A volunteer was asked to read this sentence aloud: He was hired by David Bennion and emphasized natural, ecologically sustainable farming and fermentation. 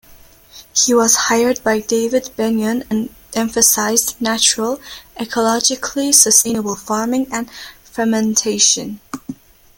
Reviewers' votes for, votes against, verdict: 0, 2, rejected